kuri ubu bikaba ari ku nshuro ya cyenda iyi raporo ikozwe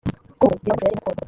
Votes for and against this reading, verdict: 0, 2, rejected